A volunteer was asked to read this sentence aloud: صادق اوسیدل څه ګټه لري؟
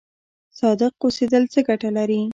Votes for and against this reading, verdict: 1, 2, rejected